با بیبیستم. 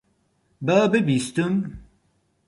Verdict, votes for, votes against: rejected, 0, 4